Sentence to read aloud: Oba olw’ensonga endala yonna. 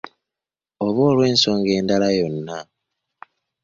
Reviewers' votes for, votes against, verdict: 2, 0, accepted